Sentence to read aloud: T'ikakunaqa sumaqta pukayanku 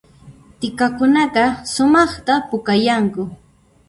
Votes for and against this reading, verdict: 2, 0, accepted